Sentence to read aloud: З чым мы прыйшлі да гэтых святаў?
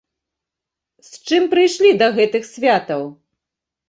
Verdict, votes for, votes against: accepted, 2, 0